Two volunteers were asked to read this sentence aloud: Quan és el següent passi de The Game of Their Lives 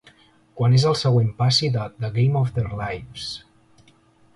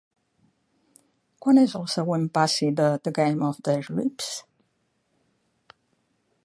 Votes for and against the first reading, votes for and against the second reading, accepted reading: 3, 1, 0, 2, first